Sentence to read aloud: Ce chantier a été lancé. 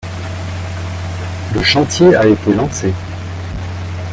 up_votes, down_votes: 1, 2